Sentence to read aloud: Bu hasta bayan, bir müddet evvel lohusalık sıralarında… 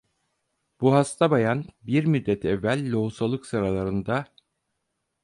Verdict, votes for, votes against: accepted, 4, 0